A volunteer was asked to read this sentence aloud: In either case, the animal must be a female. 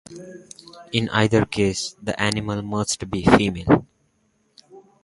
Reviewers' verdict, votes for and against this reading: rejected, 0, 2